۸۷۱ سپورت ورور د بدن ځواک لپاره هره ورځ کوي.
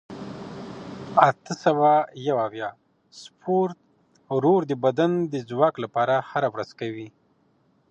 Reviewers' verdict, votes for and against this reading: rejected, 0, 2